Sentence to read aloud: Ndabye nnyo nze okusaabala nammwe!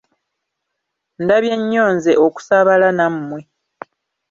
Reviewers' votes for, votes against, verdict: 2, 0, accepted